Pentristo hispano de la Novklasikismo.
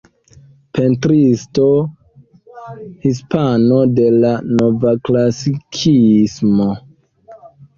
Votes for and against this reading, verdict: 1, 2, rejected